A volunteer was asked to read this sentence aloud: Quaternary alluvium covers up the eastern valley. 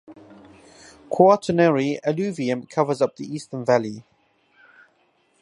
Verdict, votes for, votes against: accepted, 2, 0